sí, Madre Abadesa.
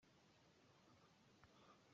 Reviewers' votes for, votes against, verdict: 0, 2, rejected